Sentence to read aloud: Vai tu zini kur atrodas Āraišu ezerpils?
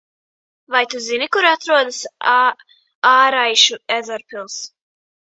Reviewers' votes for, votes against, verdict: 0, 2, rejected